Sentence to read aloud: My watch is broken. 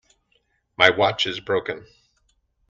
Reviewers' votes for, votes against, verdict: 2, 0, accepted